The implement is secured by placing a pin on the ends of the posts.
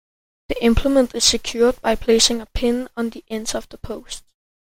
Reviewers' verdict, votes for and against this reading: accepted, 2, 0